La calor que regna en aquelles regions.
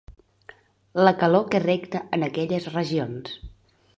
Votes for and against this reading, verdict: 0, 2, rejected